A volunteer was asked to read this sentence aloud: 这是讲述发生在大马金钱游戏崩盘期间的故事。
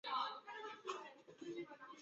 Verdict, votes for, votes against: rejected, 1, 2